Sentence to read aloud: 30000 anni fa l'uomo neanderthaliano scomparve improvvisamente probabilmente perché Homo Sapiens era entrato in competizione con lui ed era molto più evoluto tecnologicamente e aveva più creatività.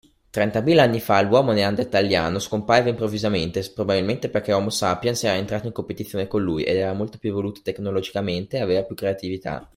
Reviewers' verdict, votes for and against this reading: rejected, 0, 2